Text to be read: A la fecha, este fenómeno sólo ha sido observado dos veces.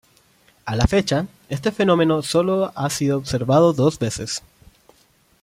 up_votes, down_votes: 3, 0